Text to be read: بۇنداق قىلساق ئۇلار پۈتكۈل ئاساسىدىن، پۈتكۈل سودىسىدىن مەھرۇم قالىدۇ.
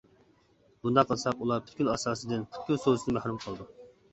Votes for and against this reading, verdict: 1, 2, rejected